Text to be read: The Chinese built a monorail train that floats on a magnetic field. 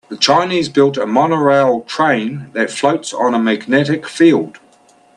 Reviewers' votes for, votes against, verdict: 3, 0, accepted